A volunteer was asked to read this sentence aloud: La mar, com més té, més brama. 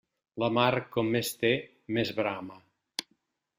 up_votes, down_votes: 3, 0